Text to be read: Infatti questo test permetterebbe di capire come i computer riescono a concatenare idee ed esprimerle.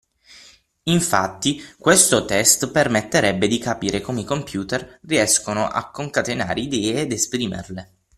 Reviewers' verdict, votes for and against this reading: accepted, 6, 3